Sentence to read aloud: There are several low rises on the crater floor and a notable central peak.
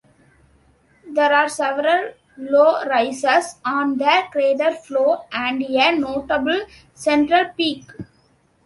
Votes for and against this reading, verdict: 2, 0, accepted